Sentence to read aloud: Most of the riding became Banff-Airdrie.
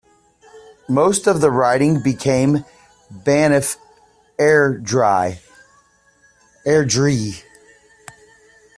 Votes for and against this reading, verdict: 1, 2, rejected